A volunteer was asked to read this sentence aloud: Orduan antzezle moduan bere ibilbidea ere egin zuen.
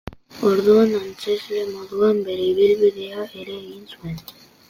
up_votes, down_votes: 2, 0